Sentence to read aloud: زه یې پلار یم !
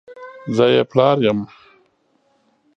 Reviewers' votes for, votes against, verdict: 2, 0, accepted